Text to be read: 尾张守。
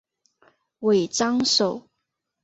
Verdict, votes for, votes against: rejected, 1, 2